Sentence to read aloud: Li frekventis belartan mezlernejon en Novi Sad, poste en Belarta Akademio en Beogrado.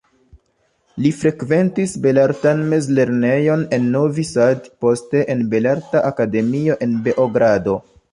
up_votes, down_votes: 0, 2